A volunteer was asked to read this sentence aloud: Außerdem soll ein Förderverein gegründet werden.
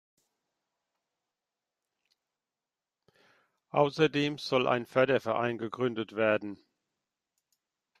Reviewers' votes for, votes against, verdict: 2, 1, accepted